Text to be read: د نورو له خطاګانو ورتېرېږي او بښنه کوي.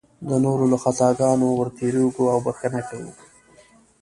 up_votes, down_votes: 3, 0